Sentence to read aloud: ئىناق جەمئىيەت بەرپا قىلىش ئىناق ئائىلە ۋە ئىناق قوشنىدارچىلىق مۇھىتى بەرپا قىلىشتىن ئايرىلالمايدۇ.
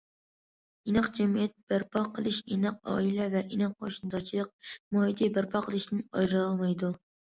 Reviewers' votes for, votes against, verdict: 2, 0, accepted